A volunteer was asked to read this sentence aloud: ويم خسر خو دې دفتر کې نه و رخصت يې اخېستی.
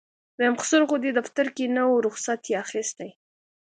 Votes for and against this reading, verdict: 2, 0, accepted